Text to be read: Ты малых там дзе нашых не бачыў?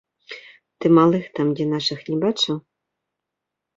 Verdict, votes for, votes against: accepted, 2, 1